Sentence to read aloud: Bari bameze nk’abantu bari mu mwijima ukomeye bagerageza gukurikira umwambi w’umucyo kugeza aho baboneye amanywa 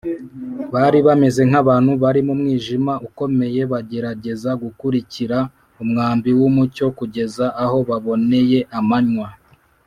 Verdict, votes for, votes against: accepted, 2, 1